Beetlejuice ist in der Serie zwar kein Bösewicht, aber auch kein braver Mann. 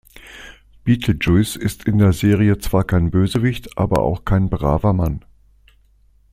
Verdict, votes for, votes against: accepted, 2, 0